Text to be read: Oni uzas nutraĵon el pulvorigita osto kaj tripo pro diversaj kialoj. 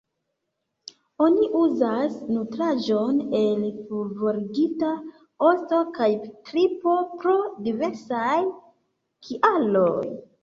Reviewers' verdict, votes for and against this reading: rejected, 0, 2